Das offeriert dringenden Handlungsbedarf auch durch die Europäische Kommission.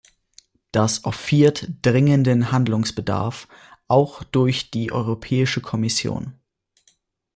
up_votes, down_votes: 0, 2